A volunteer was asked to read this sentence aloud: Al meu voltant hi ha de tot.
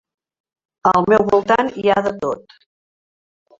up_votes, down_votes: 3, 1